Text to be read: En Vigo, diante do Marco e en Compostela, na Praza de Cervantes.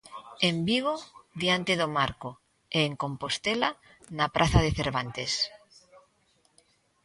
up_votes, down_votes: 2, 0